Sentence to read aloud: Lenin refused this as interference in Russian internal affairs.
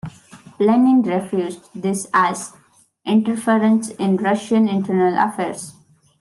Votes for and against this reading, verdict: 1, 2, rejected